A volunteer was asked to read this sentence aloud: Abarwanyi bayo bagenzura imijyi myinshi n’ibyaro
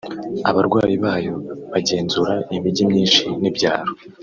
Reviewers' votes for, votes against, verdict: 0, 2, rejected